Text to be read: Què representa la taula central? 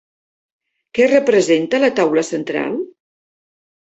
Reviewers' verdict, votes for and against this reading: accepted, 3, 0